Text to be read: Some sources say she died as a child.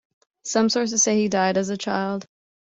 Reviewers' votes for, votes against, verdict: 0, 2, rejected